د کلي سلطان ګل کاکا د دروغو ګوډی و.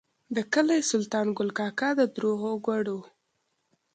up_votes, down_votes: 2, 0